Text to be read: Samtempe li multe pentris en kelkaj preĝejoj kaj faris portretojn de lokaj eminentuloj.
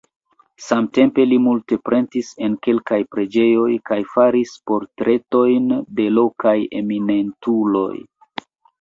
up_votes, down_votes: 2, 1